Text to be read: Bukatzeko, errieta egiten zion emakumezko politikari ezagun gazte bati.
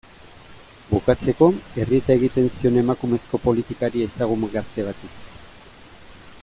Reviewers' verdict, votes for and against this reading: accepted, 2, 0